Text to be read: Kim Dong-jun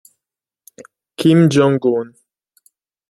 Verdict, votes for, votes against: rejected, 1, 2